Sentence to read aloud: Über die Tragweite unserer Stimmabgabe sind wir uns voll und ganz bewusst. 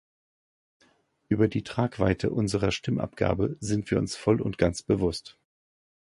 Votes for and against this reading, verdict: 2, 0, accepted